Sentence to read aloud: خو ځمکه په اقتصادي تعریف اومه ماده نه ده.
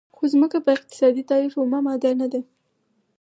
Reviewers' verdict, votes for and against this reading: rejected, 2, 4